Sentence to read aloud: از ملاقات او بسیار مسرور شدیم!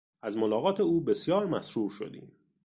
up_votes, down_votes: 2, 0